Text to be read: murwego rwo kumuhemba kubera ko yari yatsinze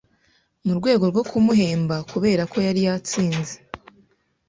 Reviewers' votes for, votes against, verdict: 2, 0, accepted